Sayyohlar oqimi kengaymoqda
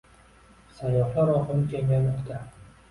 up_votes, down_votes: 2, 0